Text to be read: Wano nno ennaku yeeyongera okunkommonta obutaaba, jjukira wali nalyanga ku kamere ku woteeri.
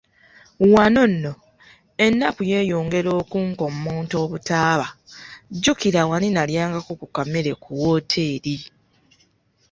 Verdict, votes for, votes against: accepted, 3, 0